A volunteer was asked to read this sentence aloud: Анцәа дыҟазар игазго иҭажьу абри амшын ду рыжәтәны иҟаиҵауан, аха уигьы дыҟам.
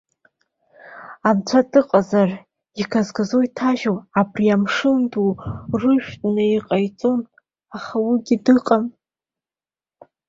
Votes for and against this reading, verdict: 2, 0, accepted